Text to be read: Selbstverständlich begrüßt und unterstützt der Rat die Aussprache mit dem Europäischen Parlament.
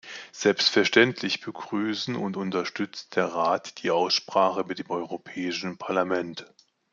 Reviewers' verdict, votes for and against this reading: rejected, 1, 2